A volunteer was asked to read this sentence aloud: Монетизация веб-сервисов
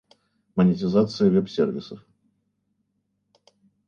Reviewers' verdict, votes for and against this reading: rejected, 1, 2